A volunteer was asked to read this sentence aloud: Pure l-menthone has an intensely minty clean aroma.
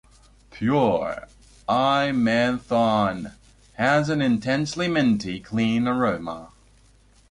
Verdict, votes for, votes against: rejected, 0, 2